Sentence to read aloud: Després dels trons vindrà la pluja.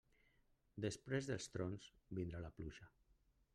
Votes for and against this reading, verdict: 0, 2, rejected